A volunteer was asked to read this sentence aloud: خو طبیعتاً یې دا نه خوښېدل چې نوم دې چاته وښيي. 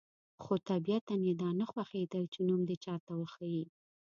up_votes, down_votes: 1, 2